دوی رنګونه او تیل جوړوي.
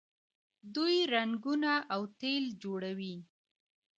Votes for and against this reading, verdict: 2, 1, accepted